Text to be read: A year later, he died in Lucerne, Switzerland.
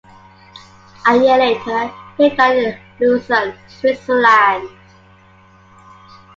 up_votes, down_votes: 2, 0